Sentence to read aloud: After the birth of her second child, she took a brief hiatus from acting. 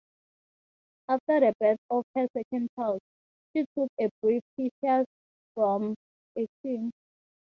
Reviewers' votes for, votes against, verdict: 0, 6, rejected